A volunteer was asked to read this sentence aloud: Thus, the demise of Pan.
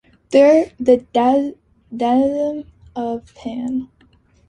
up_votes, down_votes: 0, 2